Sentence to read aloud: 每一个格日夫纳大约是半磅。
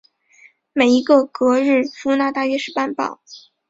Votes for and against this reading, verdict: 2, 0, accepted